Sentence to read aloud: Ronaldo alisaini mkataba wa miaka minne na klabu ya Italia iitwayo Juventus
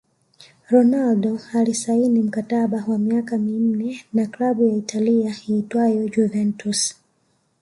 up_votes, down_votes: 2, 1